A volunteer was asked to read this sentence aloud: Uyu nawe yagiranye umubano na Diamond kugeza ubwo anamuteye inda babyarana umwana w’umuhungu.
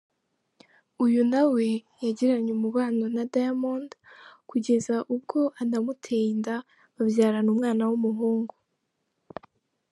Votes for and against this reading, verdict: 1, 2, rejected